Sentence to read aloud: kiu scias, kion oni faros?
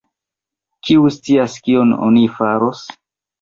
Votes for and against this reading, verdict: 2, 0, accepted